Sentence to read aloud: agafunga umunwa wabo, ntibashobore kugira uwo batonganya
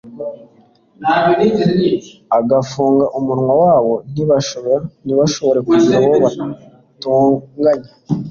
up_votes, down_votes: 1, 2